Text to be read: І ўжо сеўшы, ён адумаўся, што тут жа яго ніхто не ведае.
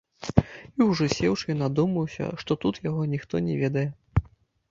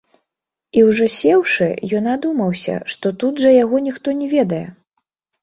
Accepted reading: second